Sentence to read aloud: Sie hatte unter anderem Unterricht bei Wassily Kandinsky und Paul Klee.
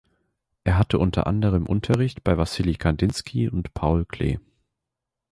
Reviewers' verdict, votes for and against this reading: rejected, 0, 2